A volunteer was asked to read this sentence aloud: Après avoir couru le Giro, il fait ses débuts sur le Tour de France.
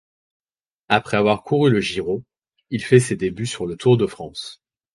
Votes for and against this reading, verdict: 4, 0, accepted